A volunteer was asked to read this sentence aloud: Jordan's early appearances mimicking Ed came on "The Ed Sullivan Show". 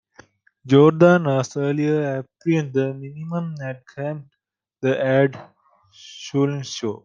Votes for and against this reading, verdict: 0, 2, rejected